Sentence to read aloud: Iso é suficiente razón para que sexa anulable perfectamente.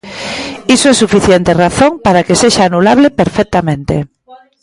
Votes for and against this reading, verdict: 0, 2, rejected